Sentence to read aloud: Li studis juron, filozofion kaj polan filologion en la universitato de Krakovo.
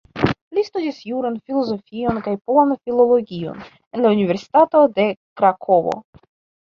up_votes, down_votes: 0, 2